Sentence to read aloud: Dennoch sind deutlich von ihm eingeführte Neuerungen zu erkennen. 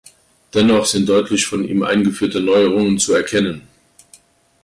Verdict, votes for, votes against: accepted, 2, 0